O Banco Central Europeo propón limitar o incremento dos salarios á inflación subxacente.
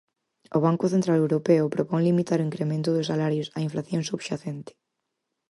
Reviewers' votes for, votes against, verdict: 4, 0, accepted